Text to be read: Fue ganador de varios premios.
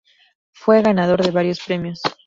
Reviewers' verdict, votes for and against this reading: rejected, 2, 2